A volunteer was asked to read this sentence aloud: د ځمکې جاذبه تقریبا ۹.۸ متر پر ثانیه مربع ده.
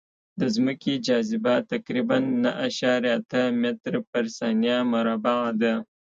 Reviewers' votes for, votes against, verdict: 0, 2, rejected